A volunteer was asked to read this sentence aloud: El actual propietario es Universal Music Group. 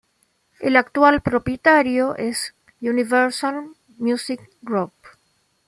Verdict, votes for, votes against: accepted, 2, 0